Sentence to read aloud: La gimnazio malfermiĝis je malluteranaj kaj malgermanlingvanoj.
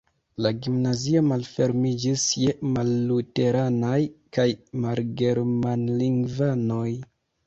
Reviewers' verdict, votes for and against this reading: accepted, 2, 0